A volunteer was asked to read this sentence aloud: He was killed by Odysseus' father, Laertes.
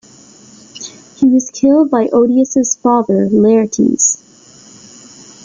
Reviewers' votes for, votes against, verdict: 2, 1, accepted